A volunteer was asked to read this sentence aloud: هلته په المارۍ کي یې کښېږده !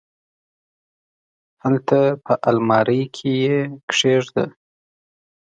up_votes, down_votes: 3, 0